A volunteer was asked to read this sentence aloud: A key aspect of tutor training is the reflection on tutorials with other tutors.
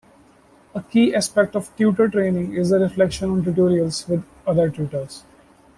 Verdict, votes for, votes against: accepted, 2, 0